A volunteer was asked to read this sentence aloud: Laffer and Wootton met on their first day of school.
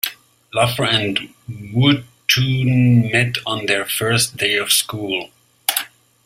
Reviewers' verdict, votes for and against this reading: accepted, 2, 0